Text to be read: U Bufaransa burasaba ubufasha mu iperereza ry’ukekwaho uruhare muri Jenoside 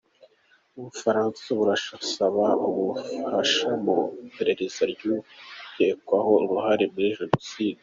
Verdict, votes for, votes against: accepted, 2, 1